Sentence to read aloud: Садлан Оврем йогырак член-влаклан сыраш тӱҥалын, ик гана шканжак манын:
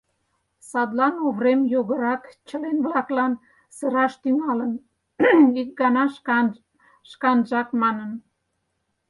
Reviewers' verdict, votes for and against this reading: rejected, 0, 4